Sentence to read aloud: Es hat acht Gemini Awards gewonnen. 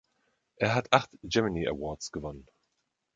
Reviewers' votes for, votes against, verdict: 0, 2, rejected